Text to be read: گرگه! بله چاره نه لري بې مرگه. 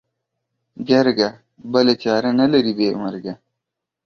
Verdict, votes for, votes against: accepted, 2, 0